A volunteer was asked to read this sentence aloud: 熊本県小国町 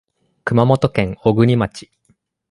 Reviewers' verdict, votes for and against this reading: accepted, 2, 0